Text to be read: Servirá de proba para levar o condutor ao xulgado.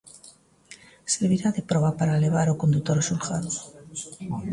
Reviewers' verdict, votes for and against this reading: accepted, 2, 1